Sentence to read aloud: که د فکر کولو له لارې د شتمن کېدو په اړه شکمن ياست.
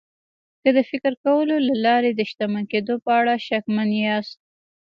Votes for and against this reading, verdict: 0, 2, rejected